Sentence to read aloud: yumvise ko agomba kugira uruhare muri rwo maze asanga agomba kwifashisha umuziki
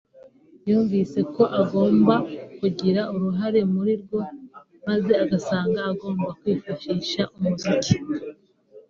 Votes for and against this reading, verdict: 2, 1, accepted